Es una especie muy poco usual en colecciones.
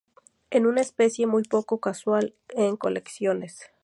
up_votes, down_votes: 0, 4